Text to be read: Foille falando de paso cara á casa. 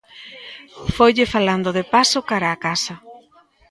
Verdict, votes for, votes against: accepted, 2, 0